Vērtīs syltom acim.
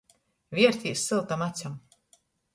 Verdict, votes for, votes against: rejected, 1, 2